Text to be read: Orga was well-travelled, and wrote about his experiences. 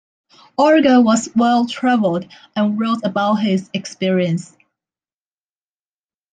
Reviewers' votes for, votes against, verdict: 0, 2, rejected